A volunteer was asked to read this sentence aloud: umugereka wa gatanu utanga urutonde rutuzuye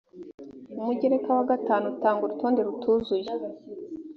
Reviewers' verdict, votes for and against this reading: accepted, 2, 0